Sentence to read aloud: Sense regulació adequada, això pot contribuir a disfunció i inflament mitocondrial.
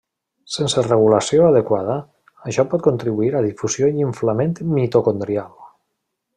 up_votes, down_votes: 0, 2